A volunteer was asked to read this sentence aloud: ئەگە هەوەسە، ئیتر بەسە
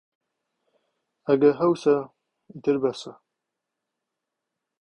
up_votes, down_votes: 0, 2